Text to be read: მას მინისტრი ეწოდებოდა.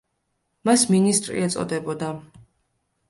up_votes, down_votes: 2, 0